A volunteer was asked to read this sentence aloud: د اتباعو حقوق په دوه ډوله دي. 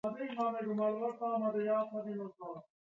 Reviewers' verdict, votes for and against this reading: rejected, 1, 2